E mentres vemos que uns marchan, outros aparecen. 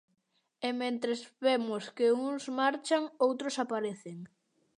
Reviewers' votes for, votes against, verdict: 2, 0, accepted